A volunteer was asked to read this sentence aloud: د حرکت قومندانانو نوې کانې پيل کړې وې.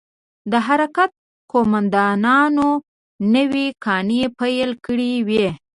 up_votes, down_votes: 0, 2